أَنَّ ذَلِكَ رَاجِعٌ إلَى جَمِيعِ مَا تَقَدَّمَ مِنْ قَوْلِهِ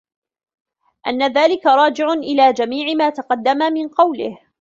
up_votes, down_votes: 0, 2